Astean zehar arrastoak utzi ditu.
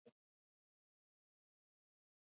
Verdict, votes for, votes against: rejected, 0, 6